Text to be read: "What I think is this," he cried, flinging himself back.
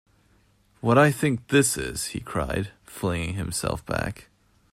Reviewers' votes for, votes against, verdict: 0, 2, rejected